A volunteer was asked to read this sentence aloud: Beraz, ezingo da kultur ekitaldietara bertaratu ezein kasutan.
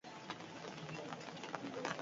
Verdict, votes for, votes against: rejected, 0, 2